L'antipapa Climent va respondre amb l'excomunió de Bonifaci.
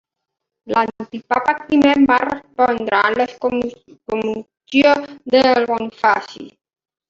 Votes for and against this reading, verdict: 2, 1, accepted